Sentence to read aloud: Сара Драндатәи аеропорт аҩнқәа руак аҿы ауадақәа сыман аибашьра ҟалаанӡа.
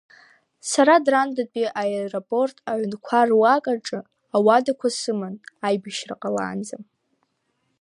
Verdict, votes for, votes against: accepted, 2, 0